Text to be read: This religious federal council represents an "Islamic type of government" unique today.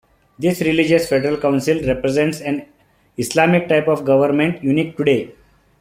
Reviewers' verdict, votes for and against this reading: accepted, 2, 0